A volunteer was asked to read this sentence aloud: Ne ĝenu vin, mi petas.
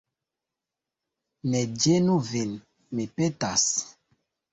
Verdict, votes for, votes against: rejected, 0, 2